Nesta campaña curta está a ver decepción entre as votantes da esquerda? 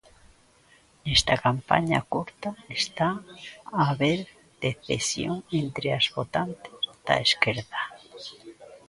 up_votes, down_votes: 0, 2